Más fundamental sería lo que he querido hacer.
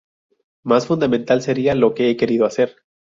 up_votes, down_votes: 2, 0